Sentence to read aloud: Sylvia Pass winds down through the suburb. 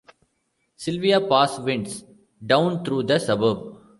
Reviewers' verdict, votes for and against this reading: rejected, 1, 2